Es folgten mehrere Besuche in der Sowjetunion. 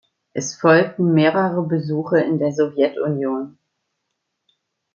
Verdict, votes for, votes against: accepted, 2, 0